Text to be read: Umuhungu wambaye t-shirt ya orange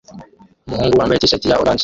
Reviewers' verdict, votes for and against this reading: rejected, 0, 2